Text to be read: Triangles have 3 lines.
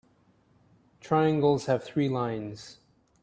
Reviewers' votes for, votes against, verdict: 0, 2, rejected